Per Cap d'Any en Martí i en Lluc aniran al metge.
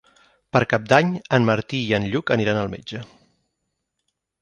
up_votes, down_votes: 8, 0